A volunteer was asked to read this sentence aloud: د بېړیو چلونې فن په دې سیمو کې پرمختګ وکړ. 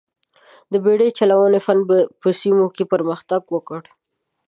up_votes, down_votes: 1, 2